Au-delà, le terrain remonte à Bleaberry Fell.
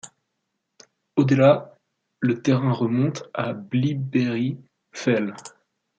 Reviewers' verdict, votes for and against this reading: rejected, 1, 2